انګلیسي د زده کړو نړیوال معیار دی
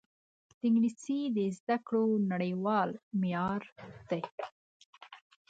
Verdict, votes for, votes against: accepted, 2, 1